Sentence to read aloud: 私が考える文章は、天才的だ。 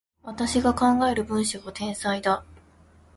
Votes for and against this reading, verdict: 1, 2, rejected